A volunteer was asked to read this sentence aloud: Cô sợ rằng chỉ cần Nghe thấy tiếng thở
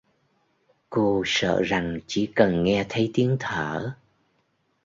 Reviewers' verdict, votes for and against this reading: accepted, 2, 0